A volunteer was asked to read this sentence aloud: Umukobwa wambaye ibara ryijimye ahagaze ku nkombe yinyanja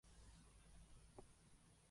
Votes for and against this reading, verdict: 0, 2, rejected